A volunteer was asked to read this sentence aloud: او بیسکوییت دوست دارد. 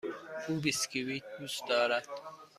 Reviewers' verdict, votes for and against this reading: accepted, 2, 1